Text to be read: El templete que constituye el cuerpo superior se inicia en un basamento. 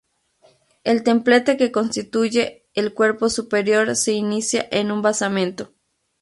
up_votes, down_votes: 4, 0